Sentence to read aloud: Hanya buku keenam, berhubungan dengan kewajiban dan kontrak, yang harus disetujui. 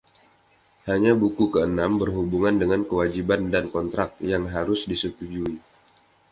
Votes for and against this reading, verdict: 2, 0, accepted